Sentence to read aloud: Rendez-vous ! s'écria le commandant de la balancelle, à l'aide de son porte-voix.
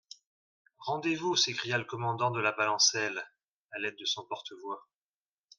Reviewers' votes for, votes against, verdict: 2, 0, accepted